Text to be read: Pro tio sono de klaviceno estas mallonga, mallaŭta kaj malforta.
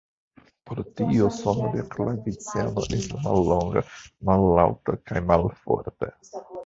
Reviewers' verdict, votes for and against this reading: rejected, 0, 2